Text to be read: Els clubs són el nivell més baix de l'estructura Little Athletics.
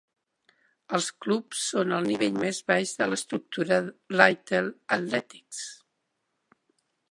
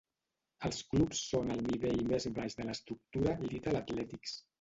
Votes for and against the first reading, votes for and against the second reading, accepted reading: 0, 2, 2, 1, second